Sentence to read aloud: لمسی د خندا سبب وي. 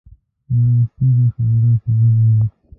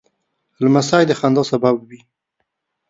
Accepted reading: second